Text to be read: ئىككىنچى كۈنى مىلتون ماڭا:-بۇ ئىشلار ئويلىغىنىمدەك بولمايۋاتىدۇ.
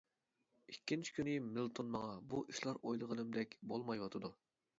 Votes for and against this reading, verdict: 2, 0, accepted